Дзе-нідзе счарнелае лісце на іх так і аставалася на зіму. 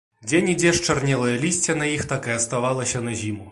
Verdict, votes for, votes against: accepted, 2, 0